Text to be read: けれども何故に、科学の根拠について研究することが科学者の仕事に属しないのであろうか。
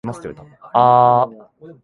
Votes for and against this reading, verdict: 1, 5, rejected